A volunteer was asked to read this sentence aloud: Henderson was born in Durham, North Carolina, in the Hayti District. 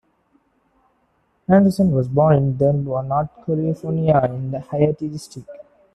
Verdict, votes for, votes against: rejected, 0, 2